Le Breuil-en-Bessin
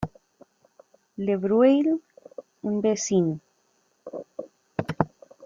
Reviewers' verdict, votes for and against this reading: rejected, 0, 2